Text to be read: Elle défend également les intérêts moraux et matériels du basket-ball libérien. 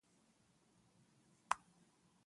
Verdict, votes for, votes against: rejected, 0, 2